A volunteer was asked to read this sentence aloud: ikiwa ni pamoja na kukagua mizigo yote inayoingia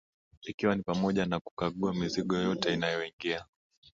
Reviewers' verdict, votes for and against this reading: accepted, 18, 0